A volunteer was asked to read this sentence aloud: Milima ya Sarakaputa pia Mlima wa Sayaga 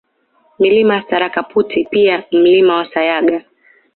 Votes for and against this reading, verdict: 2, 0, accepted